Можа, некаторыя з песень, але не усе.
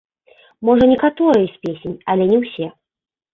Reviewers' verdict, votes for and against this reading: accepted, 2, 1